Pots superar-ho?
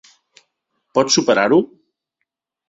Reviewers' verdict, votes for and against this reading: accepted, 3, 0